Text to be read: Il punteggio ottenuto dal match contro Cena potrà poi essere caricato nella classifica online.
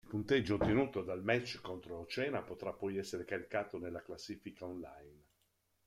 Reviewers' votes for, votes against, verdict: 1, 2, rejected